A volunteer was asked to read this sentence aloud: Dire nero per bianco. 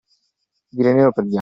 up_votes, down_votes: 0, 2